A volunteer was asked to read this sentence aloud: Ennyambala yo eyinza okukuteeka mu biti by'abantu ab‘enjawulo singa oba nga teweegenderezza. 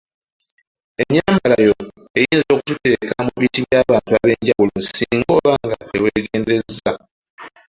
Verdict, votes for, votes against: rejected, 0, 2